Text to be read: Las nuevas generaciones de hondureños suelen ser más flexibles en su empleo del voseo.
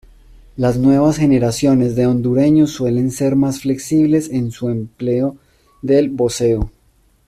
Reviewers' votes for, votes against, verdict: 2, 0, accepted